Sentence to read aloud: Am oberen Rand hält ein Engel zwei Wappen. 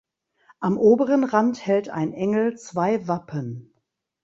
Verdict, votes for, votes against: accepted, 2, 0